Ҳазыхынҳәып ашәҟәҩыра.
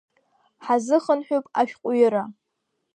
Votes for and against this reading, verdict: 0, 2, rejected